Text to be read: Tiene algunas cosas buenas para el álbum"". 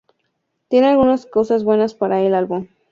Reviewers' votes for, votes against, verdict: 2, 0, accepted